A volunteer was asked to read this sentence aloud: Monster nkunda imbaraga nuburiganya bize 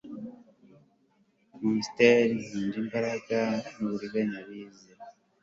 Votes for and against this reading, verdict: 2, 0, accepted